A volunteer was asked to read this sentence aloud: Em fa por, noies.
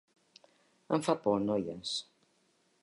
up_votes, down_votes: 3, 0